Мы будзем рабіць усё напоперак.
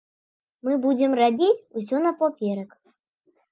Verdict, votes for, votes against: rejected, 1, 2